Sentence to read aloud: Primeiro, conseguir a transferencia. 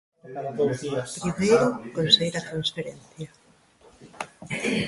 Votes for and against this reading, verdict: 1, 2, rejected